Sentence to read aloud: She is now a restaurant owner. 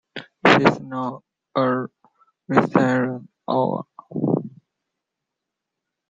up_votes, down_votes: 1, 2